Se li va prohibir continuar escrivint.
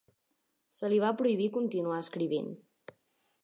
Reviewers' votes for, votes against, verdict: 3, 0, accepted